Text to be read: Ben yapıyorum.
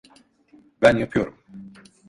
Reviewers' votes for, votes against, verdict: 2, 0, accepted